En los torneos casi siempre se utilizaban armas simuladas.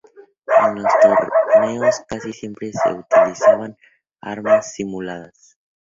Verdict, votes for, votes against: rejected, 0, 2